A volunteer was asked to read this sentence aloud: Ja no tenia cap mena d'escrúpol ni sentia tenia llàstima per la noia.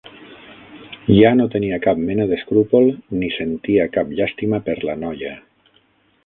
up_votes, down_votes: 0, 6